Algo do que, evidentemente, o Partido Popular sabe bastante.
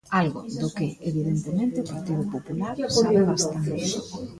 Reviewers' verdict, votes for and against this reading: rejected, 0, 2